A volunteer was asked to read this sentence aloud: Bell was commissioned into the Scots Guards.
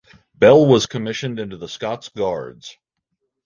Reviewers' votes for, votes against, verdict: 2, 0, accepted